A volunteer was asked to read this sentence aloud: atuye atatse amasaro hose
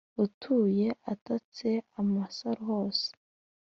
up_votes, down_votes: 2, 0